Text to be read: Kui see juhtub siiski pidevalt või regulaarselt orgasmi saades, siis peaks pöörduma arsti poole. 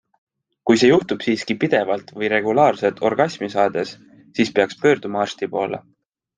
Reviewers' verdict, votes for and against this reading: accepted, 2, 0